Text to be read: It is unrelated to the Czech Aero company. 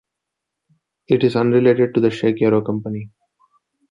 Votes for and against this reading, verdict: 2, 0, accepted